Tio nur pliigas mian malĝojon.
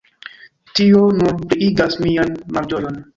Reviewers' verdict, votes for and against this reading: rejected, 1, 3